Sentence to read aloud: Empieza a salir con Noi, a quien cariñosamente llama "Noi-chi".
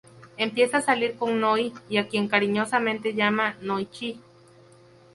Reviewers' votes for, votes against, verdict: 0, 2, rejected